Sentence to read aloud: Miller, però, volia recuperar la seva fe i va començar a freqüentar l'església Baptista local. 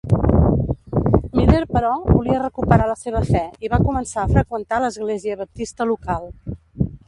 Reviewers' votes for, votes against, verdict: 2, 3, rejected